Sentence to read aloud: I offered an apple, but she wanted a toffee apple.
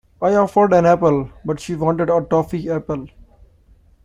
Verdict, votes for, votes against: accepted, 2, 0